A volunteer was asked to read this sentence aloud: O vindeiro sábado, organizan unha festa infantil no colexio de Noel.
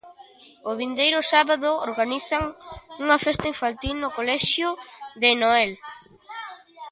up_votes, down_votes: 2, 0